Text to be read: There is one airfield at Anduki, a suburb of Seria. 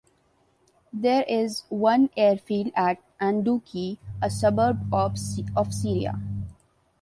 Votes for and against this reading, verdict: 0, 2, rejected